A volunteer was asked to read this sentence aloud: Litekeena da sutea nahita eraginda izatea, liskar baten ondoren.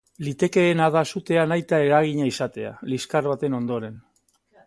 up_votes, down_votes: 0, 2